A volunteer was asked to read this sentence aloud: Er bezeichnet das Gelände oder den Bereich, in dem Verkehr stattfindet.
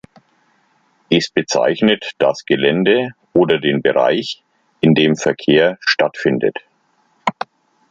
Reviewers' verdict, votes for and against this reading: rejected, 1, 2